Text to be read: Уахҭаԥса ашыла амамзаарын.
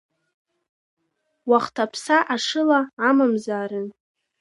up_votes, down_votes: 2, 0